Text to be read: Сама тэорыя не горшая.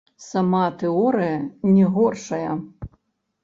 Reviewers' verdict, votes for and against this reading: rejected, 0, 3